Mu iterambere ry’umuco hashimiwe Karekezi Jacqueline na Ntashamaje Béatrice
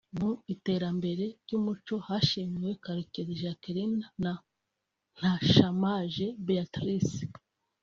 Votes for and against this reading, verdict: 2, 1, accepted